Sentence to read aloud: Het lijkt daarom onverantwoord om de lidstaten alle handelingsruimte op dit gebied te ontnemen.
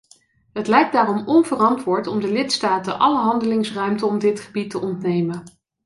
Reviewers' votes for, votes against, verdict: 1, 2, rejected